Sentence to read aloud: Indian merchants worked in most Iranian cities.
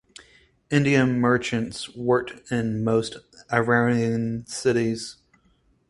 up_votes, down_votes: 4, 2